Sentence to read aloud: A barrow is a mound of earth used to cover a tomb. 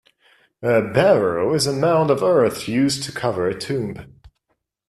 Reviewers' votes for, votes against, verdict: 2, 0, accepted